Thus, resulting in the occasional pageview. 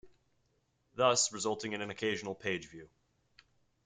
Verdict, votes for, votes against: rejected, 1, 2